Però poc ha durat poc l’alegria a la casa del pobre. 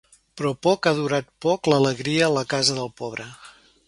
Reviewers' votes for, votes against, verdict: 3, 0, accepted